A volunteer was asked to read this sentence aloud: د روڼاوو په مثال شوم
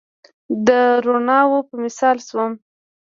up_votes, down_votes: 1, 2